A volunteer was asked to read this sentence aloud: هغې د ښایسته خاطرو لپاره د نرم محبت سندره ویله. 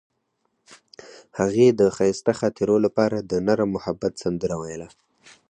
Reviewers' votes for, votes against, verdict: 4, 0, accepted